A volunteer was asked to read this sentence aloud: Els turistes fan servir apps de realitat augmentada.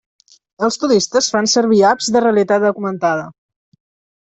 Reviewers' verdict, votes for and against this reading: accepted, 2, 0